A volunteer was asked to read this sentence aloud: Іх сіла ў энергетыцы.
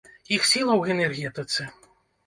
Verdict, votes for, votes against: rejected, 0, 2